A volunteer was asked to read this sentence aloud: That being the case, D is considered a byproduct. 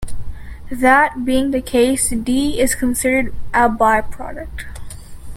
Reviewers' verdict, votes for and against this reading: accepted, 2, 0